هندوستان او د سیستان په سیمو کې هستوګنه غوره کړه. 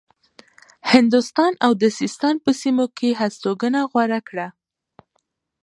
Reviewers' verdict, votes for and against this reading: accepted, 2, 0